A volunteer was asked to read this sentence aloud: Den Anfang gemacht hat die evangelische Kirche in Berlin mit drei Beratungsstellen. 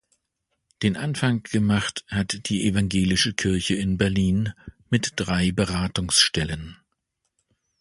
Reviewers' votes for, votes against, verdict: 2, 0, accepted